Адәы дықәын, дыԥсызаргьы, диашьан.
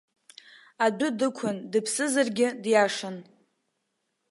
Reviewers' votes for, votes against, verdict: 0, 2, rejected